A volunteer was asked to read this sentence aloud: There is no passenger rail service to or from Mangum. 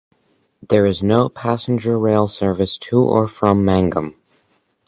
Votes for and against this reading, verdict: 4, 0, accepted